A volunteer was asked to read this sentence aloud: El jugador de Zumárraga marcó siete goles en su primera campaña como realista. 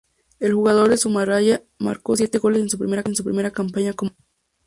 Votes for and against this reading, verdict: 0, 2, rejected